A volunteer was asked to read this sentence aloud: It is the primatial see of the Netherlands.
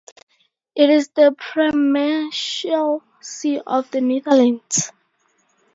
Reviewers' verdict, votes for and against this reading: rejected, 0, 2